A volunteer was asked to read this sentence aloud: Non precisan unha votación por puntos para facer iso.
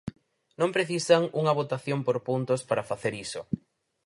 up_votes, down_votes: 4, 0